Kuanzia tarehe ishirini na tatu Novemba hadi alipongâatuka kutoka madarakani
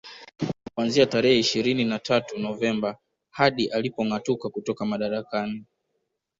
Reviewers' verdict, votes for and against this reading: accepted, 2, 0